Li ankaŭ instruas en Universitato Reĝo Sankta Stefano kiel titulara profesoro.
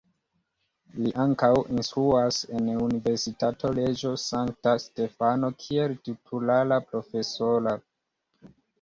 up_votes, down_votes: 3, 2